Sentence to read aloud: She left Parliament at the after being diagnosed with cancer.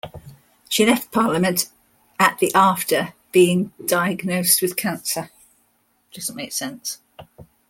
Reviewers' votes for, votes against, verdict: 0, 2, rejected